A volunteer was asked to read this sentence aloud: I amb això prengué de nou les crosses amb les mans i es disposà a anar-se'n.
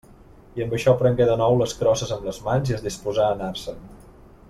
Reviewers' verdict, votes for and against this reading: accepted, 2, 0